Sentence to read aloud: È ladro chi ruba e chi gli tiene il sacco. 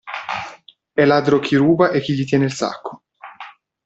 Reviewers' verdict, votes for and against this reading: accepted, 2, 0